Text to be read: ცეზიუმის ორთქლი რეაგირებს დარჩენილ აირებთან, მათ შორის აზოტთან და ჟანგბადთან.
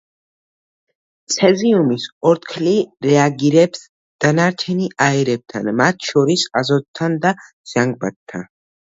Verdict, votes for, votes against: rejected, 1, 2